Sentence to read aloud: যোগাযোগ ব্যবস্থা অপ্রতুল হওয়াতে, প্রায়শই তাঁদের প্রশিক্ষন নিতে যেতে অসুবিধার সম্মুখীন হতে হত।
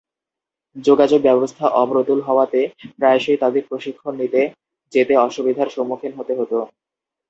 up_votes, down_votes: 4, 0